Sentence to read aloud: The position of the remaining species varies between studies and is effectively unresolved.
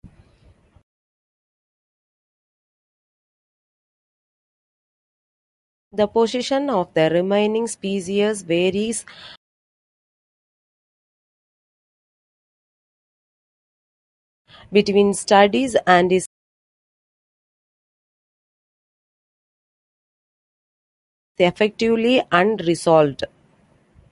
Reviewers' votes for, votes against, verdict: 1, 2, rejected